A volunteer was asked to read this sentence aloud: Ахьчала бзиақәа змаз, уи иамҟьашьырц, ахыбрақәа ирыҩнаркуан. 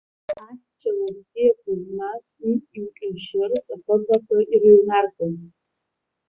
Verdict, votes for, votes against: rejected, 0, 2